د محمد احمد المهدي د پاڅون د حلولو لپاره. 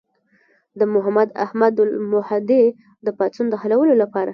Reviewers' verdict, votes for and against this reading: rejected, 1, 2